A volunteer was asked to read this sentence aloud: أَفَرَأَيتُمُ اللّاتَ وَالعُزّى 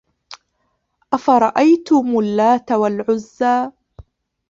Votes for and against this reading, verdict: 0, 2, rejected